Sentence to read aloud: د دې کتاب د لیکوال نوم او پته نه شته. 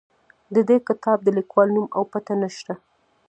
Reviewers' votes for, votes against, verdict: 0, 2, rejected